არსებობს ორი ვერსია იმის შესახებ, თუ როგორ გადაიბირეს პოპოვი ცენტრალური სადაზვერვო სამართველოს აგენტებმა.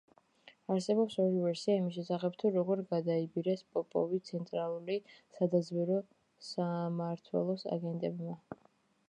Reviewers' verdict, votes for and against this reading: accepted, 2, 1